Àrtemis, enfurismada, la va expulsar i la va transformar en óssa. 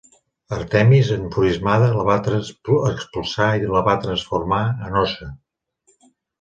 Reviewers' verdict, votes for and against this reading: rejected, 1, 2